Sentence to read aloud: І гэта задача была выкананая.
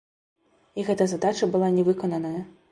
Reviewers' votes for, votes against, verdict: 0, 2, rejected